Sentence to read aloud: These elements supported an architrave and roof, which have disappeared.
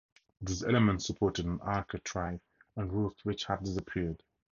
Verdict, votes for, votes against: rejected, 0, 2